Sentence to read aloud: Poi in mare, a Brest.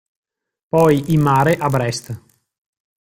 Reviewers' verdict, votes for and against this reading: accepted, 2, 1